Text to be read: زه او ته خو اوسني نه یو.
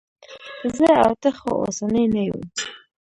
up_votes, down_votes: 0, 2